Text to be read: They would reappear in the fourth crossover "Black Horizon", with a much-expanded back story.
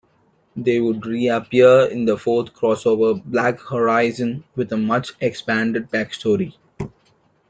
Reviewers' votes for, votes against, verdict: 1, 2, rejected